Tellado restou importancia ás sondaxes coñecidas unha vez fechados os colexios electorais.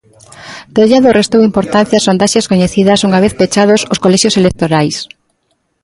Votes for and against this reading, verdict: 0, 2, rejected